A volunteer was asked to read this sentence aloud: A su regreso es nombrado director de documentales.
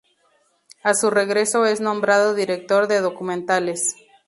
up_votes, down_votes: 4, 0